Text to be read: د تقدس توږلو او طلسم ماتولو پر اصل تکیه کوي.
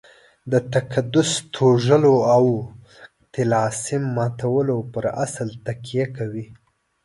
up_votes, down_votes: 1, 2